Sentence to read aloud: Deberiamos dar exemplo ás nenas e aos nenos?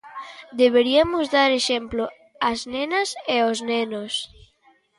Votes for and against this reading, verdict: 1, 2, rejected